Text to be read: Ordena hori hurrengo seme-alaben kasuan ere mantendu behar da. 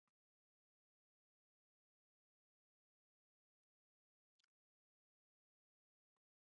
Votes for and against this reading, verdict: 0, 2, rejected